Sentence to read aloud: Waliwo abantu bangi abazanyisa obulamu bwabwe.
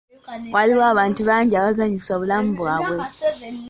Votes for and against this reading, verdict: 2, 1, accepted